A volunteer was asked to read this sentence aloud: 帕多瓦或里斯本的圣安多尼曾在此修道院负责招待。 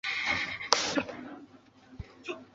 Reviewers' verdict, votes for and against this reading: rejected, 0, 2